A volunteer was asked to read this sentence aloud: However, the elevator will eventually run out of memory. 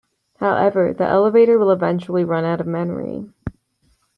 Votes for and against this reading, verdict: 2, 0, accepted